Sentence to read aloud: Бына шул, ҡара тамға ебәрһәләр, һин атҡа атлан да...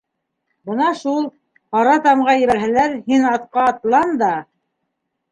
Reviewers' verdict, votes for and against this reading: accepted, 2, 1